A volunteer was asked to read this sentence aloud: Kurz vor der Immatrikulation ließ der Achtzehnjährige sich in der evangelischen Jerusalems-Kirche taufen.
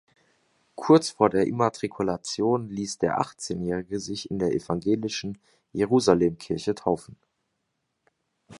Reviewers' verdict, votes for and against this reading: rejected, 1, 3